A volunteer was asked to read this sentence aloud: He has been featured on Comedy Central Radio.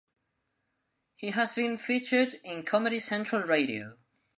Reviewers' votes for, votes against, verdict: 1, 2, rejected